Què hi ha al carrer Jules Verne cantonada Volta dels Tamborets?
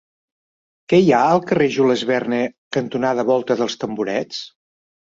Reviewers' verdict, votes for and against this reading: accepted, 3, 0